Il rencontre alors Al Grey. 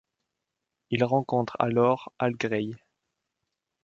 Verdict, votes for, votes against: rejected, 1, 2